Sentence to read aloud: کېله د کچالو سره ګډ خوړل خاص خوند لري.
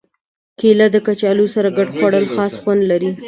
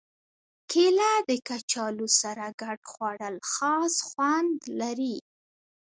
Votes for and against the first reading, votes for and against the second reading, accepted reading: 2, 0, 1, 2, first